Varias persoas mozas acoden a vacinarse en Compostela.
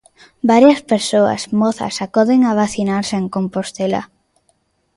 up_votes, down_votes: 2, 0